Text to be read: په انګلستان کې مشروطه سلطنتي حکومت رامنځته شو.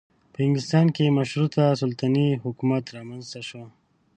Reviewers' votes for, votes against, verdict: 0, 2, rejected